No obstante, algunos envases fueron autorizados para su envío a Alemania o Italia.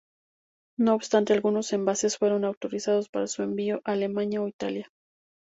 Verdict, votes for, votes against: accepted, 2, 0